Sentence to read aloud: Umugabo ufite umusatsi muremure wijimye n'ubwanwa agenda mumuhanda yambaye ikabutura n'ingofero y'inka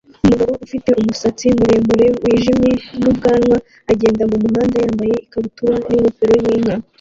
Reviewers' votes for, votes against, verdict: 1, 2, rejected